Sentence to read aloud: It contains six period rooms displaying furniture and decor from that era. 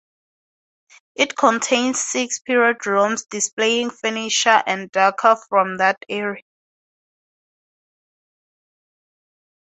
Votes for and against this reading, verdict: 2, 2, rejected